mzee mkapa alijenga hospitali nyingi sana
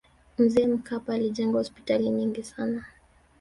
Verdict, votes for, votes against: accepted, 2, 0